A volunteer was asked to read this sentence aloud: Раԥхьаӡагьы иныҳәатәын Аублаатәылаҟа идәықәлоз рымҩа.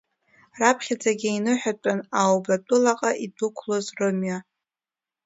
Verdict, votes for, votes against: rejected, 1, 2